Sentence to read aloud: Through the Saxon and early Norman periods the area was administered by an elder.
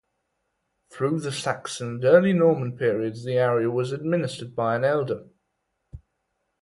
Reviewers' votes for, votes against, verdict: 4, 0, accepted